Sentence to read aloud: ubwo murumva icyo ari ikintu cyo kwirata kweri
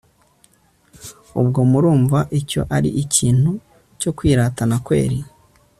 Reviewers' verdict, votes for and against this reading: rejected, 0, 2